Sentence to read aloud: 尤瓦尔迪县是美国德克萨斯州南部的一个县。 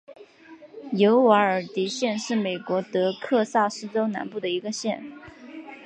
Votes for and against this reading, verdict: 3, 1, accepted